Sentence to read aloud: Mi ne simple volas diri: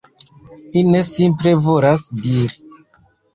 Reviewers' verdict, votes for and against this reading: rejected, 1, 2